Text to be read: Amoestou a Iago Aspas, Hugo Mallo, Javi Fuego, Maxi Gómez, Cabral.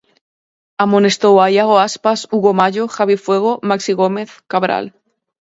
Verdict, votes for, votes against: accepted, 4, 2